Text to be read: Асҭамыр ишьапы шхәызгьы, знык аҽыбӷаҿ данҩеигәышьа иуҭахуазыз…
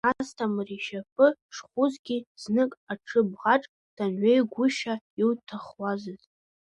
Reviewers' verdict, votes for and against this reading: rejected, 0, 2